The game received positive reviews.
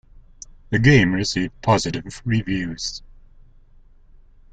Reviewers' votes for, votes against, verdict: 2, 0, accepted